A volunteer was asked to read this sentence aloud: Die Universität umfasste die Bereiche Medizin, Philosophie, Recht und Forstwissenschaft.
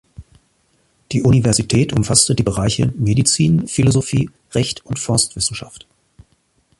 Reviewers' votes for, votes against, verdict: 2, 0, accepted